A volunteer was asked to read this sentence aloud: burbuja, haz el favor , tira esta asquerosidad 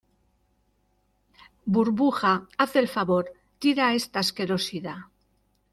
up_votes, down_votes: 2, 0